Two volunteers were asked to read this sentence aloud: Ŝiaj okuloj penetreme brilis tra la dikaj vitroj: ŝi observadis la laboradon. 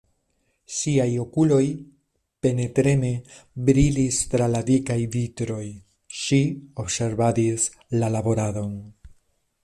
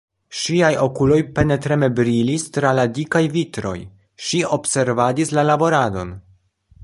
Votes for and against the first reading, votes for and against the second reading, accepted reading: 1, 2, 2, 0, second